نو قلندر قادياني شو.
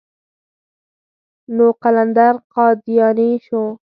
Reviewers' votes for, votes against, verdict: 4, 0, accepted